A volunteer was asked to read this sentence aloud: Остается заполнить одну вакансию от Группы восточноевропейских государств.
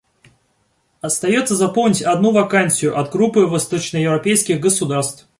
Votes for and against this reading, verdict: 2, 0, accepted